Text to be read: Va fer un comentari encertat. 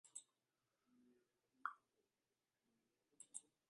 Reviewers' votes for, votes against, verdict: 0, 2, rejected